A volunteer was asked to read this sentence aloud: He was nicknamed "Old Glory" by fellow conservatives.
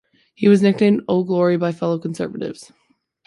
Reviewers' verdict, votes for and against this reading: accepted, 2, 1